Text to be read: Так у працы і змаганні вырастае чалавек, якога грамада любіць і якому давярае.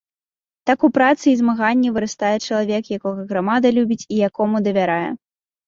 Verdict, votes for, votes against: rejected, 1, 2